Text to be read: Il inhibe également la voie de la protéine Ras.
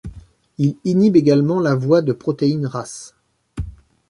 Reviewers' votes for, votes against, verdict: 0, 2, rejected